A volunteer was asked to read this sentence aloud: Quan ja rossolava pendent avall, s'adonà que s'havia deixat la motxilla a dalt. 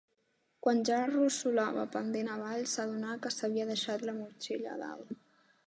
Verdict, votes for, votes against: accepted, 2, 0